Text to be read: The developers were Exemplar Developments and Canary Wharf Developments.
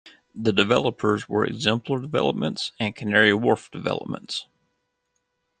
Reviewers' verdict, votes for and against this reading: accepted, 2, 0